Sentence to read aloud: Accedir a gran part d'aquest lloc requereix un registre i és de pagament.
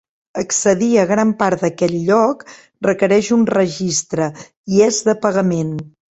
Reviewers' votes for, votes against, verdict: 2, 0, accepted